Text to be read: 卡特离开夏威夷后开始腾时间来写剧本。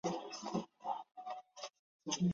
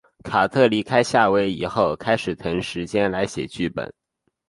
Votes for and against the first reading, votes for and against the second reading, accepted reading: 0, 2, 2, 0, second